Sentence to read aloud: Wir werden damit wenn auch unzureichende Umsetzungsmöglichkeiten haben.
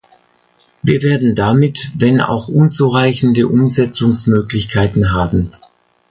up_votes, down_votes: 2, 0